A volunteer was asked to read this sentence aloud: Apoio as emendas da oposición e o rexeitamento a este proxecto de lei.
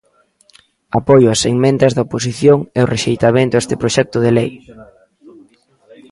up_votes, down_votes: 1, 2